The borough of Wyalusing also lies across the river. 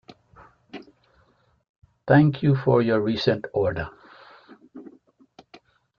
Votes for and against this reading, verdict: 0, 2, rejected